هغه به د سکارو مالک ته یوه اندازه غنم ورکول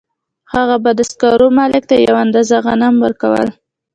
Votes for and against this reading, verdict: 2, 0, accepted